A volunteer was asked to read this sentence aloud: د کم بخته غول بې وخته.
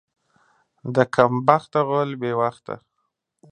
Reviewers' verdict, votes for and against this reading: accepted, 2, 0